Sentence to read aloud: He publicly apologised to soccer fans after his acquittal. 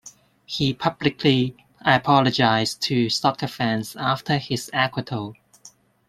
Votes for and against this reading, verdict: 1, 2, rejected